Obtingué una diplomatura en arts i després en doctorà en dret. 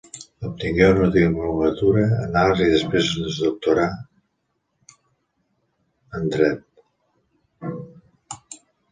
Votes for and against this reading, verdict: 0, 2, rejected